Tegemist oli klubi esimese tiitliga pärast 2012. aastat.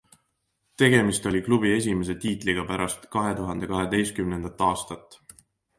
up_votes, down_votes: 0, 2